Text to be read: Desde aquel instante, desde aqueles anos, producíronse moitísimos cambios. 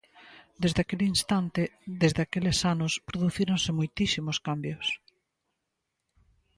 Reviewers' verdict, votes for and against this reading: accepted, 2, 0